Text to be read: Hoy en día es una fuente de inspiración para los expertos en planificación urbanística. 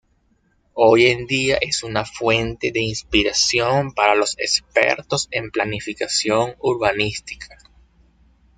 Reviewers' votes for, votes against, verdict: 2, 0, accepted